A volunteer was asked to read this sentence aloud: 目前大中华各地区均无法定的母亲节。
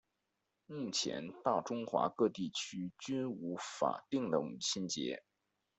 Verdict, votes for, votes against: rejected, 1, 2